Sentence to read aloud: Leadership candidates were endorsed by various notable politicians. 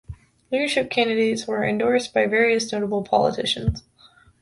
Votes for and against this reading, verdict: 2, 0, accepted